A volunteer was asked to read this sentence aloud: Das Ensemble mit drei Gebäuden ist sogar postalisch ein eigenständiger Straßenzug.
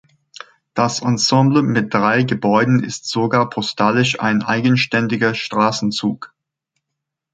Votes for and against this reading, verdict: 2, 0, accepted